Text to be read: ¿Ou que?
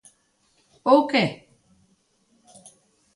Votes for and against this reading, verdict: 2, 0, accepted